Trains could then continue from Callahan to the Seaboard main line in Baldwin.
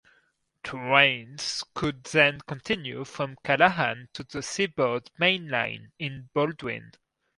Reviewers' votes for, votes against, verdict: 2, 0, accepted